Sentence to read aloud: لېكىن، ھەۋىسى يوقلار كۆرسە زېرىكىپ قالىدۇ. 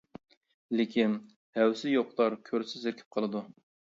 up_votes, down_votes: 1, 2